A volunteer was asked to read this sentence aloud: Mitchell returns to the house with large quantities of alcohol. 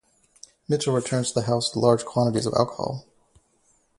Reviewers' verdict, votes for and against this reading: rejected, 0, 2